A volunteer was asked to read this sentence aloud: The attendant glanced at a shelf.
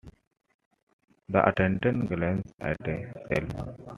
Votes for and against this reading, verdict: 2, 1, accepted